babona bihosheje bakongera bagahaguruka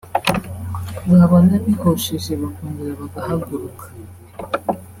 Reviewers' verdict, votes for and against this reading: rejected, 1, 2